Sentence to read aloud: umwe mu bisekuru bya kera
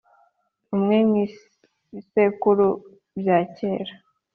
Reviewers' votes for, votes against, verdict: 2, 0, accepted